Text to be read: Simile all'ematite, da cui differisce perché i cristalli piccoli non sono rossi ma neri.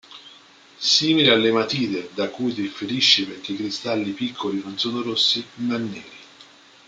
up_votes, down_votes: 2, 0